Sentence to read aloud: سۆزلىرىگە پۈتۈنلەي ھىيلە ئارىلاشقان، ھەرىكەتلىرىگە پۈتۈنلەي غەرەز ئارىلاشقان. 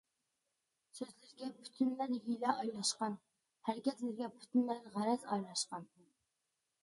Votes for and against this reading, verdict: 0, 2, rejected